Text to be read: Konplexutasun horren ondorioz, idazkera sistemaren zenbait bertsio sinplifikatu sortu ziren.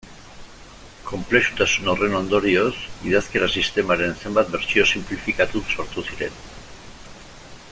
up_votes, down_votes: 1, 2